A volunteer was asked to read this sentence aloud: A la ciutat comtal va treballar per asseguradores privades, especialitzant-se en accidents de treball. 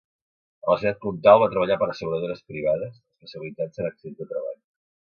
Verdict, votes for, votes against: rejected, 0, 2